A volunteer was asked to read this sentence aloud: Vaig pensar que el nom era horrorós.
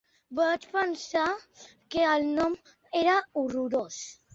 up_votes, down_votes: 4, 0